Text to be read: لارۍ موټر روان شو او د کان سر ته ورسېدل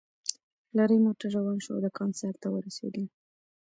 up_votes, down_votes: 2, 0